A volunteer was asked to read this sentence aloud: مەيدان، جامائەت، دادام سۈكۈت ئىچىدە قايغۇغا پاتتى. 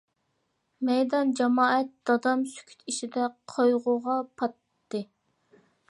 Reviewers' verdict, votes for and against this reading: accepted, 2, 0